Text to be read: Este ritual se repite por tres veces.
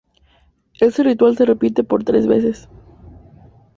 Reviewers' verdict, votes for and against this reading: accepted, 2, 0